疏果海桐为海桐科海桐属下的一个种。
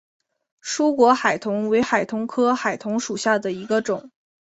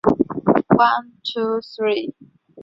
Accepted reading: first